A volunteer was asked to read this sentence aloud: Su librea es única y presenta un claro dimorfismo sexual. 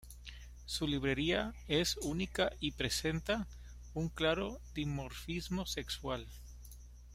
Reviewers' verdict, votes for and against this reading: rejected, 1, 2